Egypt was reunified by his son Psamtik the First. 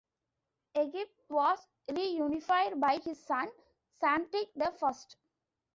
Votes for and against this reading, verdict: 2, 0, accepted